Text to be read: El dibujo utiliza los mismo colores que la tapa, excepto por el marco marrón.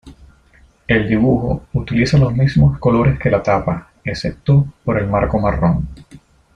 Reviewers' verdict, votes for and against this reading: accepted, 2, 0